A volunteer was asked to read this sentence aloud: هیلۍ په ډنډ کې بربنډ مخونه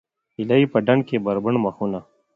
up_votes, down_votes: 2, 0